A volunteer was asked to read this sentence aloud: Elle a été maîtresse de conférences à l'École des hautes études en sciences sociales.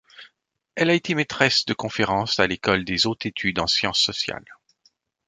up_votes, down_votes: 0, 2